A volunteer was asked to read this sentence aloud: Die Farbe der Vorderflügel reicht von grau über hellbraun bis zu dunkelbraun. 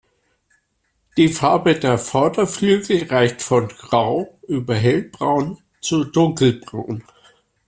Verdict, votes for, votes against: rejected, 1, 2